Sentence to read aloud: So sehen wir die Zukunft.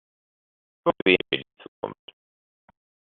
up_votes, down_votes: 0, 2